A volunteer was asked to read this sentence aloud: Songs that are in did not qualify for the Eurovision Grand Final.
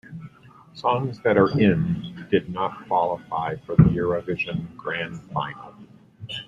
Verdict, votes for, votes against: rejected, 0, 2